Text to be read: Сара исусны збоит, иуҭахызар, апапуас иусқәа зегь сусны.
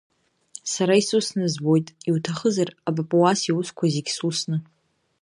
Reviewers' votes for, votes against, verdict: 2, 0, accepted